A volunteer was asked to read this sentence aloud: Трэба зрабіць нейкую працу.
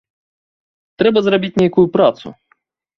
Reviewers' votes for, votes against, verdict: 2, 0, accepted